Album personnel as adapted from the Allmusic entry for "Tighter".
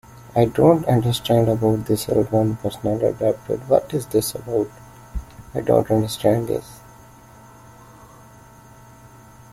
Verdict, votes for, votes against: rejected, 0, 2